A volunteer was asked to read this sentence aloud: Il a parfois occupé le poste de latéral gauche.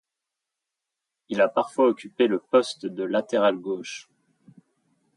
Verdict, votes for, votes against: accepted, 2, 0